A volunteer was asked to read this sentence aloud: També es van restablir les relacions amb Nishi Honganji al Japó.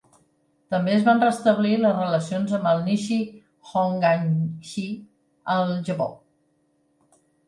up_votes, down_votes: 2, 3